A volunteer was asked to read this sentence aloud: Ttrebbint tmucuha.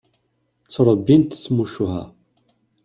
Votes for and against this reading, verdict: 2, 0, accepted